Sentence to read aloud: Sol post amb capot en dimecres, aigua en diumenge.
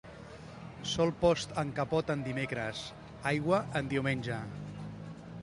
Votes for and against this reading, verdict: 2, 0, accepted